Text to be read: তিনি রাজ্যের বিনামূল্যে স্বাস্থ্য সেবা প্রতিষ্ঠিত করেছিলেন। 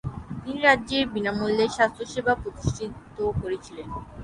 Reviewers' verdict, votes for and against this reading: accepted, 3, 0